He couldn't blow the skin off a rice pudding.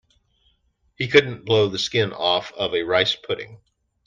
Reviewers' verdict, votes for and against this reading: accepted, 2, 1